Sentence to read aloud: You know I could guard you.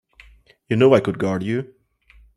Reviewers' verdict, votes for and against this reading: accepted, 3, 0